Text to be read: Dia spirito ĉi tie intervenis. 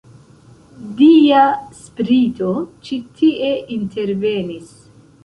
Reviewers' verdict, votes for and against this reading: rejected, 1, 2